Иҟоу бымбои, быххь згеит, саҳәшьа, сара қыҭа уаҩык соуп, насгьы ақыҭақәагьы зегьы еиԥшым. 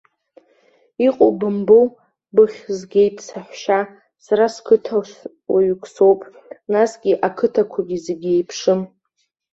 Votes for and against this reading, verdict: 2, 1, accepted